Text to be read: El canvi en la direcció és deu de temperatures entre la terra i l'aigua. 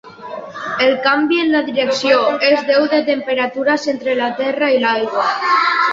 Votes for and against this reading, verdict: 1, 2, rejected